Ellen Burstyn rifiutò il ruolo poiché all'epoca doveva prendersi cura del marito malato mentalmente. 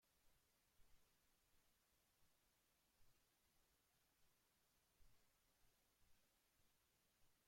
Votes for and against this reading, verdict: 0, 2, rejected